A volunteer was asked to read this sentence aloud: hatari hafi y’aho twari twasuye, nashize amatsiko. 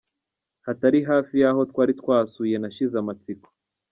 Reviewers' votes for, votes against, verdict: 2, 0, accepted